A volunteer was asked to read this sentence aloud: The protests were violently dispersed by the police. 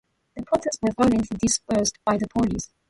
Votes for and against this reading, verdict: 0, 2, rejected